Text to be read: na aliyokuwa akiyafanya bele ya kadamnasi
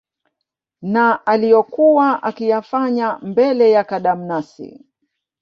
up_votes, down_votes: 0, 2